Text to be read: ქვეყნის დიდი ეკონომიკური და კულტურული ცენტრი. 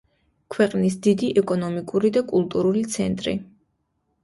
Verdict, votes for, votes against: accepted, 2, 0